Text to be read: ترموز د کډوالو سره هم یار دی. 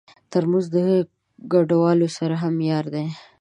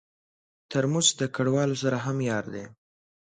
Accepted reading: second